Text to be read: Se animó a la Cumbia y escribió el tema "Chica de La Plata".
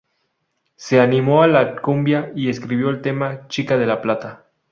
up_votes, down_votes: 4, 0